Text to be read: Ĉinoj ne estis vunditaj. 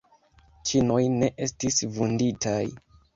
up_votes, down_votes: 3, 0